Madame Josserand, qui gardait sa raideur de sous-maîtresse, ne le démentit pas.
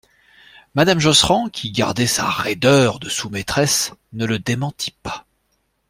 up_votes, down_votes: 2, 0